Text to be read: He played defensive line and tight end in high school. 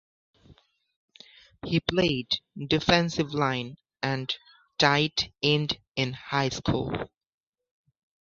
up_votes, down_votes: 2, 0